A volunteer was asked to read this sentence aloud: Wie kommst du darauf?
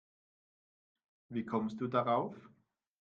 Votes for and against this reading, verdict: 2, 0, accepted